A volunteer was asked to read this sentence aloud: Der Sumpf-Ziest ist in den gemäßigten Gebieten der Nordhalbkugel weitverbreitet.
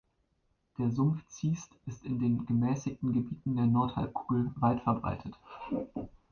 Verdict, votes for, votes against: accepted, 2, 0